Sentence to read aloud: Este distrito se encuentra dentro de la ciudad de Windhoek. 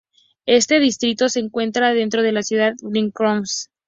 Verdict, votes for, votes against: rejected, 0, 2